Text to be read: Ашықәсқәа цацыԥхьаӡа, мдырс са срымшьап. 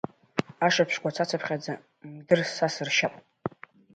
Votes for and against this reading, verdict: 1, 2, rejected